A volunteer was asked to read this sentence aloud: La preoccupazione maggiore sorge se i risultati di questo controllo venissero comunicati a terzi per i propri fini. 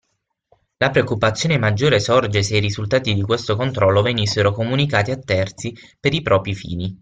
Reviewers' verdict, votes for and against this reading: accepted, 6, 0